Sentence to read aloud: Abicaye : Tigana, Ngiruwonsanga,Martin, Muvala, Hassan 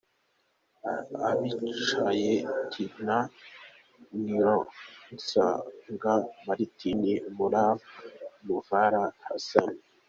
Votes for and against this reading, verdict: 0, 2, rejected